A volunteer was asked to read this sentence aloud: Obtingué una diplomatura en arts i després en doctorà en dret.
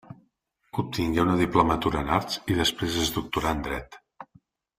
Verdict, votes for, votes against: accepted, 2, 1